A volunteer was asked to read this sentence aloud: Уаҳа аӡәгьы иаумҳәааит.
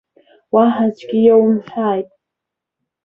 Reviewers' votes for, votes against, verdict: 1, 2, rejected